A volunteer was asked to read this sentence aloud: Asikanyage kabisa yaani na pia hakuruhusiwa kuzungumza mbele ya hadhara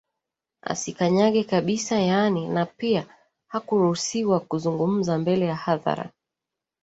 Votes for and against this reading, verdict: 2, 0, accepted